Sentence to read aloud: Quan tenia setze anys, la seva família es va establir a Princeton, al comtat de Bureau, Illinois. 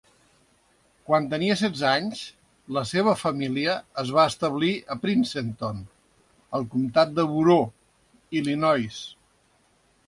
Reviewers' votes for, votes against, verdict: 0, 2, rejected